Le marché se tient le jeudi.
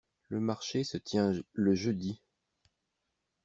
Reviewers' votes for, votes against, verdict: 0, 2, rejected